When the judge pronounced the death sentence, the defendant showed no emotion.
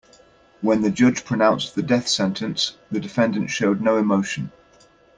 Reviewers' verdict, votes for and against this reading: accepted, 2, 0